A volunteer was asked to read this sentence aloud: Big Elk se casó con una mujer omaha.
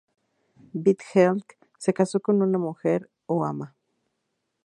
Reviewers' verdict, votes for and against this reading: rejected, 0, 2